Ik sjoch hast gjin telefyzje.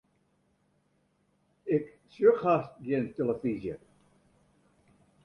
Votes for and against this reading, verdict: 1, 2, rejected